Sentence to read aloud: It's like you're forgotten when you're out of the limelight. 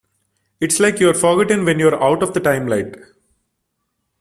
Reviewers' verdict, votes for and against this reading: rejected, 0, 2